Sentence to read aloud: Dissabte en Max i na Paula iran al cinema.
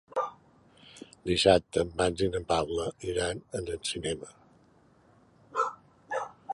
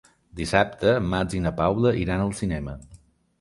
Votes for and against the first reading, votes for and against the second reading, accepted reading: 0, 2, 3, 0, second